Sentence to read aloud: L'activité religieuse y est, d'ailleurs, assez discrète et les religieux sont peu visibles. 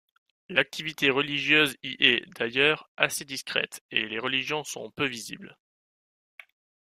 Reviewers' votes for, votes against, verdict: 0, 2, rejected